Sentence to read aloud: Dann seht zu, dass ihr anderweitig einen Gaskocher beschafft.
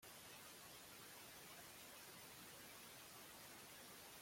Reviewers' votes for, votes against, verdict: 0, 2, rejected